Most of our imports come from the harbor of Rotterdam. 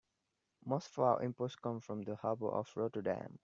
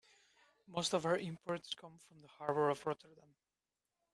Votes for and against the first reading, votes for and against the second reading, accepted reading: 2, 0, 0, 2, first